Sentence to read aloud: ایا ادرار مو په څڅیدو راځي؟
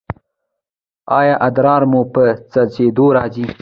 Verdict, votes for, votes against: rejected, 1, 2